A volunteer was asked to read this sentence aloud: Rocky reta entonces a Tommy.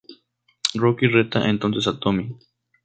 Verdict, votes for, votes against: accepted, 2, 0